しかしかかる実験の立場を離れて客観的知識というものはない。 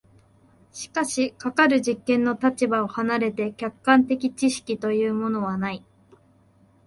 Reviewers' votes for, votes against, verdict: 2, 0, accepted